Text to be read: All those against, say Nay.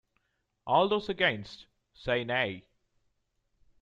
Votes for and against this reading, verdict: 2, 1, accepted